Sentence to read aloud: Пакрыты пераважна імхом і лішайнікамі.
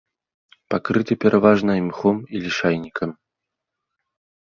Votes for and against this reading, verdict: 1, 2, rejected